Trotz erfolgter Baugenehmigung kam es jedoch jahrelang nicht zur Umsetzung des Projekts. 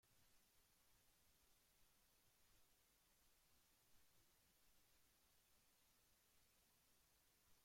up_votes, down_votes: 0, 2